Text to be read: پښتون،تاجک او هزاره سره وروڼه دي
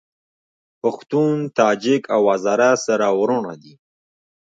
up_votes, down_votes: 1, 2